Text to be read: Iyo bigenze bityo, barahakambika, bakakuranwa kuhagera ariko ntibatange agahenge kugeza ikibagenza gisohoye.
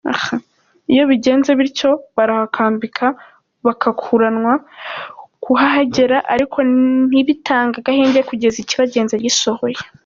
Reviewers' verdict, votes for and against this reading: rejected, 0, 2